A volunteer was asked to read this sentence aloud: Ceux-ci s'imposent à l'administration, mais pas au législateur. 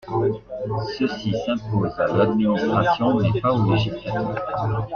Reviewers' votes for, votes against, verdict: 0, 2, rejected